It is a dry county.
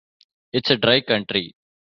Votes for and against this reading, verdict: 1, 2, rejected